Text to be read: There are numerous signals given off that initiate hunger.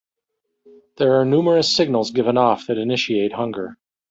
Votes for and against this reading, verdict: 1, 2, rejected